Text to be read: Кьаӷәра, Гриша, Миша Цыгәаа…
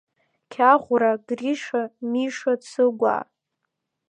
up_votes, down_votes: 2, 1